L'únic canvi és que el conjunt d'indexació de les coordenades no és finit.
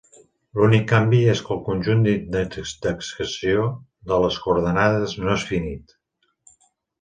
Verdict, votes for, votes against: rejected, 0, 2